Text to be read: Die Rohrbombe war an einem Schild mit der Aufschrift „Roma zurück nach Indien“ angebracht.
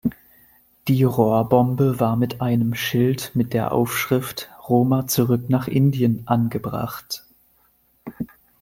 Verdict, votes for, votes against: rejected, 1, 2